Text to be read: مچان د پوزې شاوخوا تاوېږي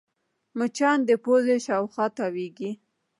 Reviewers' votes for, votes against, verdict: 2, 0, accepted